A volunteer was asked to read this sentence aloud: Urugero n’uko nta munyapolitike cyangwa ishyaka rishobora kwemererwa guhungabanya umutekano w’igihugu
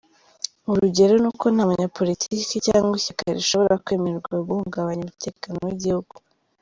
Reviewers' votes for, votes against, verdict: 0, 2, rejected